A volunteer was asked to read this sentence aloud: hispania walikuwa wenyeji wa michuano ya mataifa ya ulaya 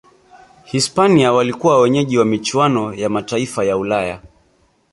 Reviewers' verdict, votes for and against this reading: accepted, 2, 1